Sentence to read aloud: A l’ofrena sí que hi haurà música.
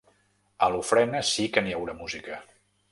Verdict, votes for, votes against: rejected, 1, 2